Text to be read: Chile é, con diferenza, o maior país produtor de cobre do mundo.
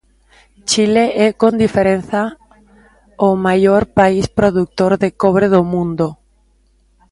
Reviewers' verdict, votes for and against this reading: accepted, 2, 0